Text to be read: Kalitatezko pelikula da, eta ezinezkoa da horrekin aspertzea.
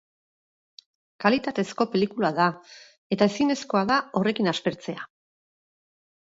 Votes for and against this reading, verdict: 4, 2, accepted